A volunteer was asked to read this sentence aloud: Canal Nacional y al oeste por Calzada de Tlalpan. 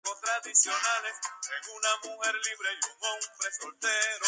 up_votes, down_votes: 0, 2